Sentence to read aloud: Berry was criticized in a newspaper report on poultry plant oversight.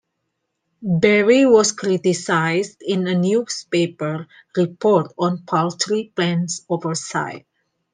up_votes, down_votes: 1, 2